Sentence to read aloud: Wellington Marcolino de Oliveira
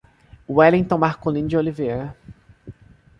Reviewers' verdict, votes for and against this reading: accepted, 2, 0